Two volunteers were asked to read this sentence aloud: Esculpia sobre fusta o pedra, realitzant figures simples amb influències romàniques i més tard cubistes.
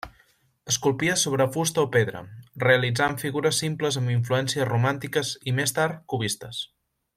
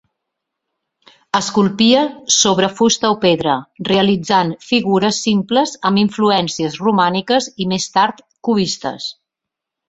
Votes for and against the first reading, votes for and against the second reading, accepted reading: 1, 2, 4, 0, second